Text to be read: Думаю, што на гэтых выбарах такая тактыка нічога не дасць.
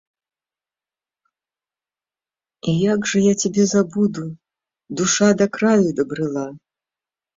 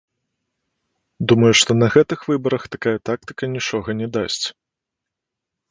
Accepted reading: second